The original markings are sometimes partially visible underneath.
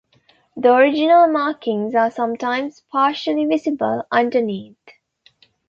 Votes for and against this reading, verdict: 2, 1, accepted